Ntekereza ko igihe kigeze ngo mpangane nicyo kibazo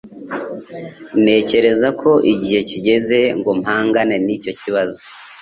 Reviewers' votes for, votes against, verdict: 2, 0, accepted